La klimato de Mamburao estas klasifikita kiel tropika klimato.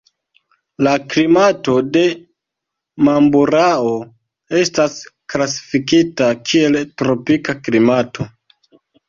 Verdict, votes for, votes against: rejected, 0, 2